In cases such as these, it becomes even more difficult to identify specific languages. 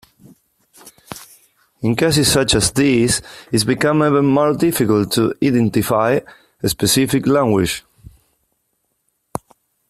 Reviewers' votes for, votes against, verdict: 0, 2, rejected